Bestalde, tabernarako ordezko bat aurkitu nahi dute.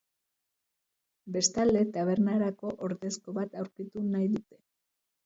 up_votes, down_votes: 2, 1